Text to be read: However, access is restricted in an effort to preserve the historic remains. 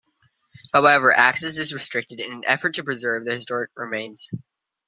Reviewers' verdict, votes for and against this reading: rejected, 0, 2